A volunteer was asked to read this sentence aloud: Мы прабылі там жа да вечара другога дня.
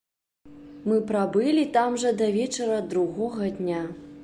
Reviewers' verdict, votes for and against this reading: accepted, 2, 0